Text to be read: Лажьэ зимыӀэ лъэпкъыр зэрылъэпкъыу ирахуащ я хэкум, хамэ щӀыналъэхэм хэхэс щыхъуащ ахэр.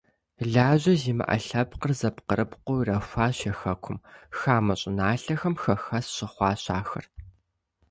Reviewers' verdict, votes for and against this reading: rejected, 0, 2